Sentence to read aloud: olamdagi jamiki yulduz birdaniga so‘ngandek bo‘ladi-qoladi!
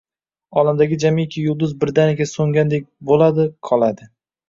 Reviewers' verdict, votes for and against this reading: rejected, 1, 2